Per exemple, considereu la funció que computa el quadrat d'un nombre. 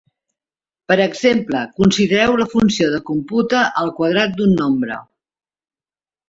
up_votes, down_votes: 1, 2